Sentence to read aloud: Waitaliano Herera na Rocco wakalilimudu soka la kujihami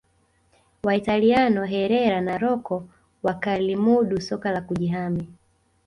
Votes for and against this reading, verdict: 2, 0, accepted